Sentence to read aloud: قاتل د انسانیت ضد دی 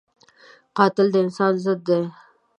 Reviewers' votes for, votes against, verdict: 1, 2, rejected